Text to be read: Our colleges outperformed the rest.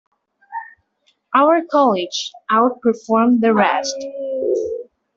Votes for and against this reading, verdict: 2, 0, accepted